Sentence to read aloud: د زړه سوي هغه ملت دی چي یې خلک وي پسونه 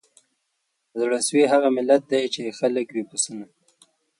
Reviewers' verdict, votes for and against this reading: rejected, 0, 2